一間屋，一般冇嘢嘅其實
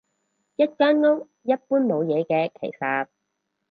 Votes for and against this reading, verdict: 4, 0, accepted